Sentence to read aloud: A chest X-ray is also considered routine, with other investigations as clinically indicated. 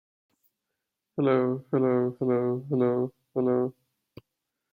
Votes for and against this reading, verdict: 0, 2, rejected